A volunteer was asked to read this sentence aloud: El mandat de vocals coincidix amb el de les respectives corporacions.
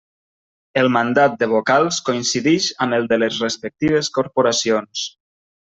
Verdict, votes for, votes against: accepted, 2, 0